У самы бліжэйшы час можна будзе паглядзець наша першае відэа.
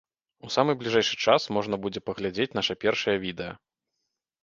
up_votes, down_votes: 2, 0